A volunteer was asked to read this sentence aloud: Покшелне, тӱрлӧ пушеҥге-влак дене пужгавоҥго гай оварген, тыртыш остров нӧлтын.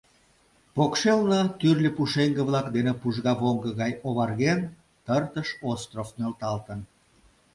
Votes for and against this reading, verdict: 1, 2, rejected